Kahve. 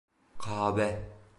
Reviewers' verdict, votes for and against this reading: rejected, 0, 2